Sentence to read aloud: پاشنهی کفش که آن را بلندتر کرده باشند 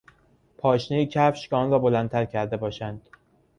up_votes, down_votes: 2, 0